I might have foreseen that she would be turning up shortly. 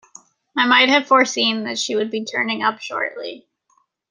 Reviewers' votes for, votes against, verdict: 2, 0, accepted